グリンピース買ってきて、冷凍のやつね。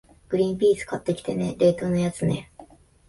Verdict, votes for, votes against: rejected, 1, 2